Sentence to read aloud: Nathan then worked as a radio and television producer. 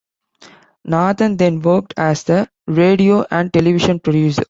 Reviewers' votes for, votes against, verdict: 2, 1, accepted